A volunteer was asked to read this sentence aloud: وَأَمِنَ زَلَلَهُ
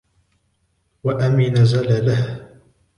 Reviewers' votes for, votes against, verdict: 1, 2, rejected